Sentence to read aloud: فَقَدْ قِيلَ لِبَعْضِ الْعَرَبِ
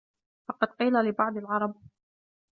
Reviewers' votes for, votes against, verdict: 2, 0, accepted